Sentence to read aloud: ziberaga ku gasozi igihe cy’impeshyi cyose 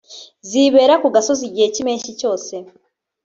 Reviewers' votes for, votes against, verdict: 1, 2, rejected